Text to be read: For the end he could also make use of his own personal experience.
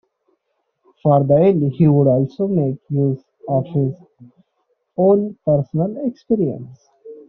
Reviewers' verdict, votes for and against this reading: accepted, 2, 0